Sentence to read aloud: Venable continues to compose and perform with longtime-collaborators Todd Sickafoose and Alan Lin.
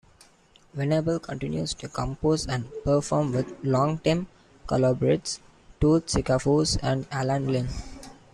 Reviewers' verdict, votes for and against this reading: rejected, 0, 2